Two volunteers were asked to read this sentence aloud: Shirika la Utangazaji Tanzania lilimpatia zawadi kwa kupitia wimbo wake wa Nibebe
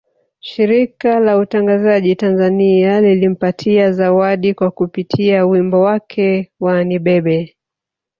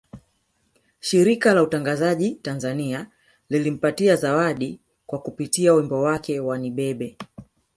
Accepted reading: second